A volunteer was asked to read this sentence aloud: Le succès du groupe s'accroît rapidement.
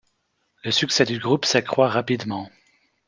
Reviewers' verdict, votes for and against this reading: accepted, 2, 0